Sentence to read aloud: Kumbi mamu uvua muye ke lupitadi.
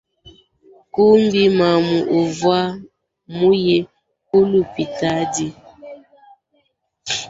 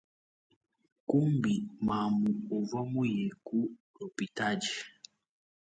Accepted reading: second